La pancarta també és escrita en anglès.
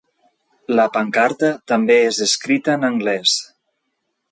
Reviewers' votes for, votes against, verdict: 2, 0, accepted